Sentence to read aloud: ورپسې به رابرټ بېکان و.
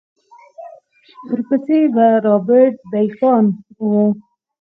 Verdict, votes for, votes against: rejected, 2, 4